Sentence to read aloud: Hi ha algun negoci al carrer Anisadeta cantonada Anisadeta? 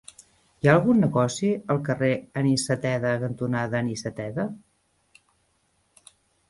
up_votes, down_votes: 0, 2